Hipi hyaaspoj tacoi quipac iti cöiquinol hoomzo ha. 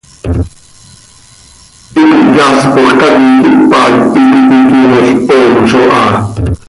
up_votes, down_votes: 0, 2